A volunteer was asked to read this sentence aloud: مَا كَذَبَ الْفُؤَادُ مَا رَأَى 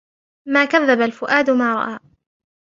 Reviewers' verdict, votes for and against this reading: accepted, 2, 1